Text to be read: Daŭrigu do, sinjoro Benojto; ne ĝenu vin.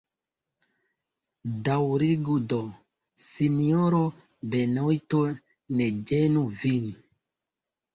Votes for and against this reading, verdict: 1, 2, rejected